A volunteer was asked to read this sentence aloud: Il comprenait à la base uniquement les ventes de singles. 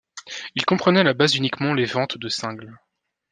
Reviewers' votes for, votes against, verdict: 1, 2, rejected